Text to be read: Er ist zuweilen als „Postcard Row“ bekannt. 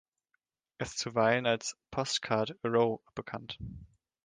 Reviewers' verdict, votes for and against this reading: rejected, 1, 2